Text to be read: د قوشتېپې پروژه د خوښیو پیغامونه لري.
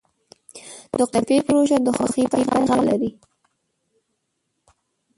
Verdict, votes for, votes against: rejected, 1, 2